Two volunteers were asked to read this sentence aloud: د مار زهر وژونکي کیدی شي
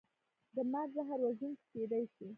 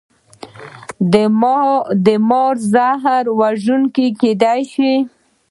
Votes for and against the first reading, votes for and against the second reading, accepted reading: 2, 1, 1, 2, first